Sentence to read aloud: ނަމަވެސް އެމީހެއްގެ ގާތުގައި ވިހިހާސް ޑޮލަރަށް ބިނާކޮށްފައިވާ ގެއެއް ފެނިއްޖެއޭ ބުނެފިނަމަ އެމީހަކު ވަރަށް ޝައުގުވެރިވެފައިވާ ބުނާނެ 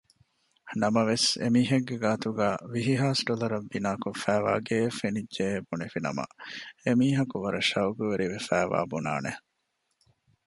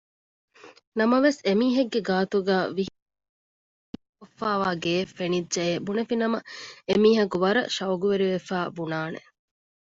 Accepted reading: first